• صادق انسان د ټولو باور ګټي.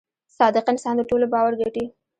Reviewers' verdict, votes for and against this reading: rejected, 0, 2